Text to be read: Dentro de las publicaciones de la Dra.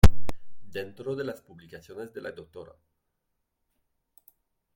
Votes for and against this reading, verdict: 1, 2, rejected